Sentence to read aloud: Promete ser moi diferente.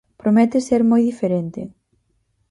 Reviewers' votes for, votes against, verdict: 4, 0, accepted